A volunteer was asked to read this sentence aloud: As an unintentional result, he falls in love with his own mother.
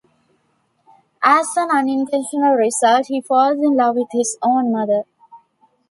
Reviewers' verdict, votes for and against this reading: accepted, 2, 0